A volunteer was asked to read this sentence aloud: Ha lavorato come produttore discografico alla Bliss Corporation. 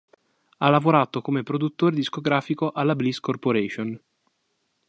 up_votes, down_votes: 2, 0